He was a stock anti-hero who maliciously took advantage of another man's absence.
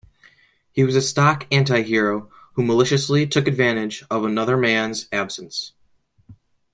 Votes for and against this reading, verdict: 2, 0, accepted